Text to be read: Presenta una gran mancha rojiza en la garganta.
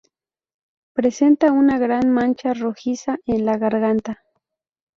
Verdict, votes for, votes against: accepted, 4, 0